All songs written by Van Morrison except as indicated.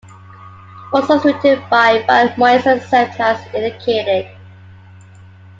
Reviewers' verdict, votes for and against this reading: rejected, 0, 2